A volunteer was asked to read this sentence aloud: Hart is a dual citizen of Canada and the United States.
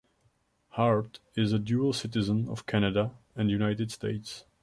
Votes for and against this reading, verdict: 2, 1, accepted